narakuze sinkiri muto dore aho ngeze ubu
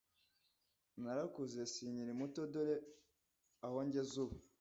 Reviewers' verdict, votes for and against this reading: accepted, 2, 0